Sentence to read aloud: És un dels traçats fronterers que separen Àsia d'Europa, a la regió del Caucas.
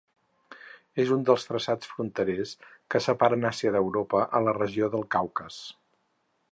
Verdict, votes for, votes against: accepted, 4, 0